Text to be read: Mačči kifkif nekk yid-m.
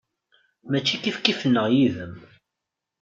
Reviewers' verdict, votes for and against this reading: rejected, 0, 2